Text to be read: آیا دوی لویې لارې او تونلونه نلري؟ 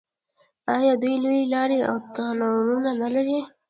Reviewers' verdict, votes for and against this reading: rejected, 1, 2